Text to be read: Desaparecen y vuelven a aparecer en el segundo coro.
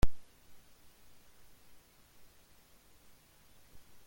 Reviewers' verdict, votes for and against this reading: rejected, 0, 2